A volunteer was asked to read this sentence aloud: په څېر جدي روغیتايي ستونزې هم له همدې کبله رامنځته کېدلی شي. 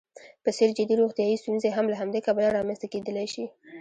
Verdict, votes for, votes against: rejected, 0, 2